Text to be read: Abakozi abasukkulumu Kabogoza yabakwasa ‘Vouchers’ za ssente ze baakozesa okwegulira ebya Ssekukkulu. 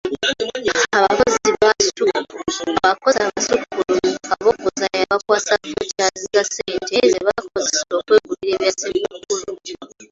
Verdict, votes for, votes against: rejected, 0, 2